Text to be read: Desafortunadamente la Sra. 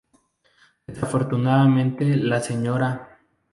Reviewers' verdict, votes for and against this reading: rejected, 0, 2